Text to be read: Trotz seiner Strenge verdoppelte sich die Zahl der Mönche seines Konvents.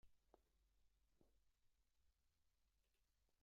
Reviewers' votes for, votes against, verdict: 0, 2, rejected